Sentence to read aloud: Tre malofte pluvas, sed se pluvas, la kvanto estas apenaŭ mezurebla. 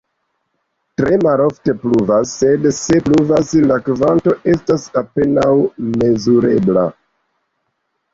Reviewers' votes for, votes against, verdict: 2, 0, accepted